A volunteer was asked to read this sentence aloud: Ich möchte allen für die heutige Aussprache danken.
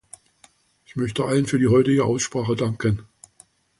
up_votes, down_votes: 2, 0